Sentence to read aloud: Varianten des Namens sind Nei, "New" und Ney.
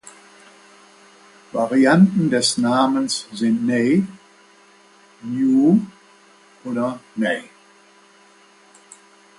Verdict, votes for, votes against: rejected, 1, 2